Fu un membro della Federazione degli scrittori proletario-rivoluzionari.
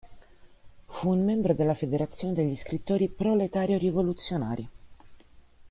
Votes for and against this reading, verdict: 2, 0, accepted